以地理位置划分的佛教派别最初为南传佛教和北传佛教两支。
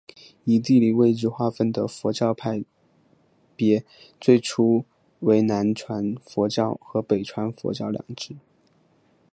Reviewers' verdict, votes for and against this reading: accepted, 4, 1